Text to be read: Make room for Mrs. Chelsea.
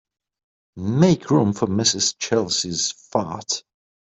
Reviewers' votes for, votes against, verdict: 1, 2, rejected